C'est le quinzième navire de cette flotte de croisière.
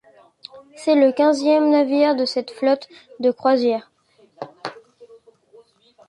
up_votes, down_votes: 2, 0